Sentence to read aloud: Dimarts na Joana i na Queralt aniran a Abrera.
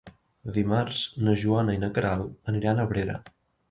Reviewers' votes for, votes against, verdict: 4, 0, accepted